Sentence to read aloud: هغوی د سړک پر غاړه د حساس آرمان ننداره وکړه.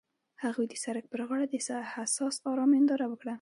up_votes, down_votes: 2, 0